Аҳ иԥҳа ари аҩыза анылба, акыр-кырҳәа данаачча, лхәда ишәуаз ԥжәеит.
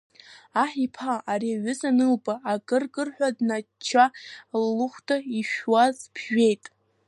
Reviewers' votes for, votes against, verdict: 0, 2, rejected